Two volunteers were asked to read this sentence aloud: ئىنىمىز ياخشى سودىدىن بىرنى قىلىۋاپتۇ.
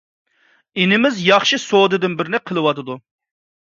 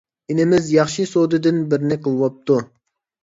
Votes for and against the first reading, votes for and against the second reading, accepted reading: 1, 2, 2, 0, second